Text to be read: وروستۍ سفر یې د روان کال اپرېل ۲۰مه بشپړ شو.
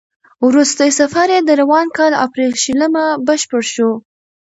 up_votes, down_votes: 0, 2